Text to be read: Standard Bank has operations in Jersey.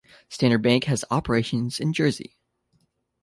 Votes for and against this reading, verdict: 2, 0, accepted